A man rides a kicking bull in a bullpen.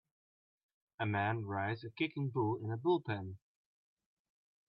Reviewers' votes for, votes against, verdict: 2, 0, accepted